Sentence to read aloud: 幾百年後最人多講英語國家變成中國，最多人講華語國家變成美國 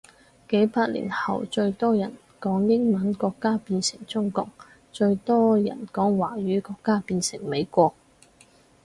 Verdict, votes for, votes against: rejected, 2, 2